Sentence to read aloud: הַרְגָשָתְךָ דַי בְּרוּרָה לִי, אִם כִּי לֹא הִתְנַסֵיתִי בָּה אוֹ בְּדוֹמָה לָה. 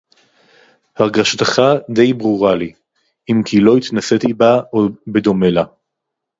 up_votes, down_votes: 2, 2